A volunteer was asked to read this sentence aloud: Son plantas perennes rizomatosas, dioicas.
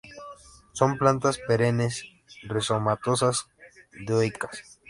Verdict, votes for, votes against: rejected, 0, 2